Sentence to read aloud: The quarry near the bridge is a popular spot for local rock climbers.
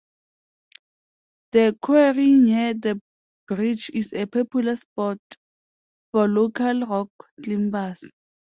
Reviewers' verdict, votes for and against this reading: accepted, 2, 0